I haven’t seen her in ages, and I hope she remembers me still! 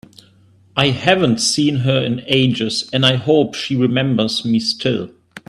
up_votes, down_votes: 3, 0